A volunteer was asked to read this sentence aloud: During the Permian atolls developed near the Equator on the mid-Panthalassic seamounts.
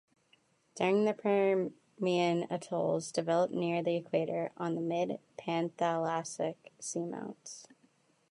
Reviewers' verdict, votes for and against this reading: rejected, 0, 3